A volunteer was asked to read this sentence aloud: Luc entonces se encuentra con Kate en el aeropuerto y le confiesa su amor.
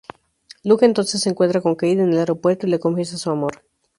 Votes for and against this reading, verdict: 2, 0, accepted